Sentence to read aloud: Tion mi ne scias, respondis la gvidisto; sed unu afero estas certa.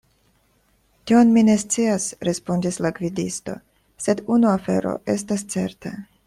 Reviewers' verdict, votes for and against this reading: rejected, 0, 2